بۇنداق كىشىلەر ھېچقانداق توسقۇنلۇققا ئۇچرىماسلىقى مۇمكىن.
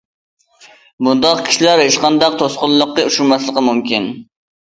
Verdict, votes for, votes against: accepted, 2, 0